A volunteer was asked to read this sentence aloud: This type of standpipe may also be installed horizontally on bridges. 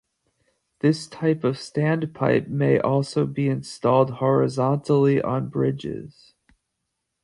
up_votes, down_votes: 2, 0